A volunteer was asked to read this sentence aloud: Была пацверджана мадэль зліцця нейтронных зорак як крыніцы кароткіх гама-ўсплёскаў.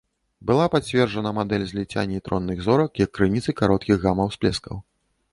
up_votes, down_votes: 0, 2